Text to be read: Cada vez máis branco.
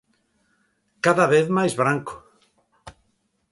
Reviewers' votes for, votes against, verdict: 2, 0, accepted